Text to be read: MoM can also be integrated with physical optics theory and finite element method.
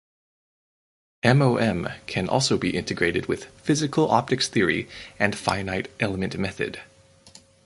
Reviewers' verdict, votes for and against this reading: rejected, 2, 2